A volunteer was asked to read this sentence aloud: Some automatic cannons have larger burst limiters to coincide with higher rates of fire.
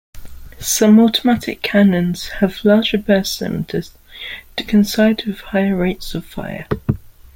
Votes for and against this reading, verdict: 1, 2, rejected